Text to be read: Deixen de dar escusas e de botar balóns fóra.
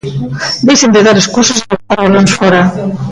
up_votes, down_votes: 0, 2